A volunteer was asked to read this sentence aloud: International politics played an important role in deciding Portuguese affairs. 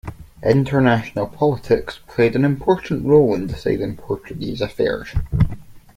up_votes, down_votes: 2, 1